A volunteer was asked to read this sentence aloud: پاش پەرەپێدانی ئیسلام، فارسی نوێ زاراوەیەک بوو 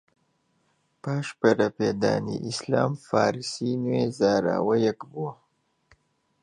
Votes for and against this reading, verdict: 1, 2, rejected